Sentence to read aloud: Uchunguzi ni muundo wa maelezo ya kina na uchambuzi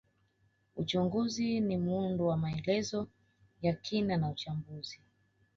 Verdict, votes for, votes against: rejected, 1, 2